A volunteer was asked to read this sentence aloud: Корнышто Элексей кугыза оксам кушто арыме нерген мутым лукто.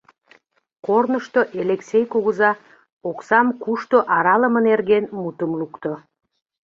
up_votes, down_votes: 0, 2